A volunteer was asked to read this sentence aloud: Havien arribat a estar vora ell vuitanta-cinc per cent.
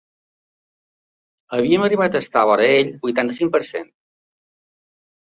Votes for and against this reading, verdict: 2, 0, accepted